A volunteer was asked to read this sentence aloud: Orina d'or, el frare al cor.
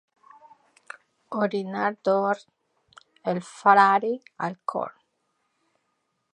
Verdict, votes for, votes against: accepted, 2, 1